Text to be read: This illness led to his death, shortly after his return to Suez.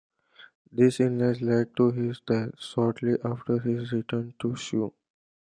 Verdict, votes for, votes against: accepted, 2, 0